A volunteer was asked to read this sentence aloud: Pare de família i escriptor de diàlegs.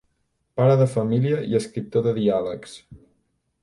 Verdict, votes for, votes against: accepted, 2, 0